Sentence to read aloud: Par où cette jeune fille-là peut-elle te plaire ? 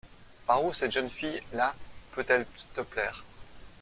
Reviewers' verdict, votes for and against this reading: rejected, 1, 2